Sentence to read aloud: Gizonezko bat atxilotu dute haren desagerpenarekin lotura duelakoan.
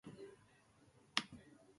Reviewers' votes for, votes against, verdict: 0, 2, rejected